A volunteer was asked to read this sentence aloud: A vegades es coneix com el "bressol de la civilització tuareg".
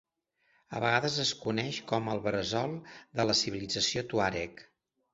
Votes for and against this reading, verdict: 0, 2, rejected